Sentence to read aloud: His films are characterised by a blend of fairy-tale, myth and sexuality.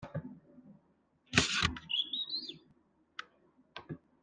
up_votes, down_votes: 0, 2